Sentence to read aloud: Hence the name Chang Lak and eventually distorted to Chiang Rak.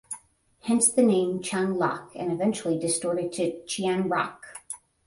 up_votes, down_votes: 10, 0